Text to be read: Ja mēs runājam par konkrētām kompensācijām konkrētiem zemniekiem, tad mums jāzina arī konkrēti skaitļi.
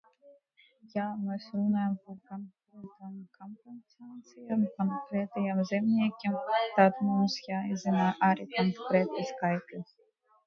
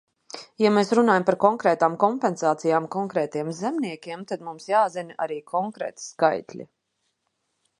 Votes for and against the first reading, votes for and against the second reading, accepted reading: 0, 2, 2, 0, second